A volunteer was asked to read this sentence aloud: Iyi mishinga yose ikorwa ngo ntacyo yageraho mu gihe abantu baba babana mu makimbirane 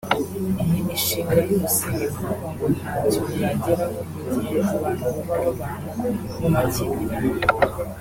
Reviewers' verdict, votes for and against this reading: accepted, 3, 0